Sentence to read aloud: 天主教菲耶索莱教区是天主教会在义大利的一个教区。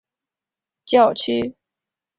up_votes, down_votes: 0, 2